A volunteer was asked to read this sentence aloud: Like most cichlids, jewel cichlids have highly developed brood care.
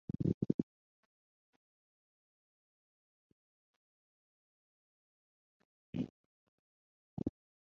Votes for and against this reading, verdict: 0, 3, rejected